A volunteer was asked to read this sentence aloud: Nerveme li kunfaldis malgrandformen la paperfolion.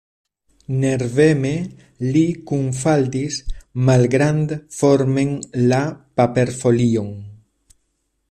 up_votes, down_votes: 2, 0